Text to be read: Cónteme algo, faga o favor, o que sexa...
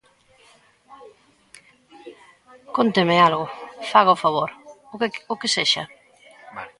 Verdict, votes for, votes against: rejected, 0, 2